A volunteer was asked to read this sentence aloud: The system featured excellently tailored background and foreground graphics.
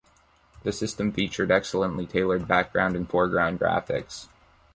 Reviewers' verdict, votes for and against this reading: accepted, 2, 0